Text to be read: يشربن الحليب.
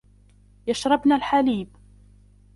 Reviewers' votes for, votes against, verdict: 1, 2, rejected